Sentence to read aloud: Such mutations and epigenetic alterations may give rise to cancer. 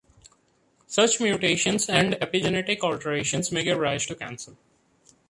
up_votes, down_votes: 2, 1